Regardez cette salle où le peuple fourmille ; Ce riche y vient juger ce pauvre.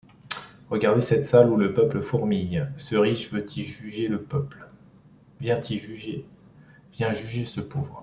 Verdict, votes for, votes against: rejected, 0, 2